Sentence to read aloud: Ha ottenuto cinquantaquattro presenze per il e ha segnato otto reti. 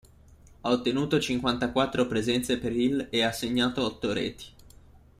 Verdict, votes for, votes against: accepted, 2, 0